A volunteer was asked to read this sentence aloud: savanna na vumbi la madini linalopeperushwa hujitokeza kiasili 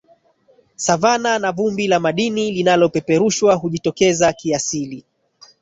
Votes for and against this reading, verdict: 1, 2, rejected